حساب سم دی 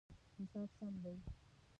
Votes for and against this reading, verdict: 1, 2, rejected